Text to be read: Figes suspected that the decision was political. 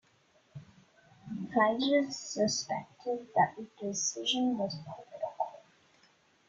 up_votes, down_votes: 1, 2